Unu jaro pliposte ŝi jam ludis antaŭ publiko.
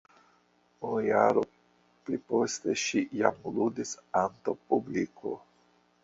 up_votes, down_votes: 1, 2